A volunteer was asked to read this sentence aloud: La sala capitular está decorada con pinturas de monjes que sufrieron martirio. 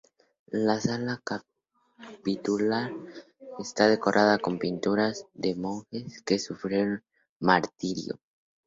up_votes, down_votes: 0, 2